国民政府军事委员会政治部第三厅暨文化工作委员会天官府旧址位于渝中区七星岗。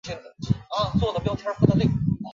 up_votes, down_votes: 0, 2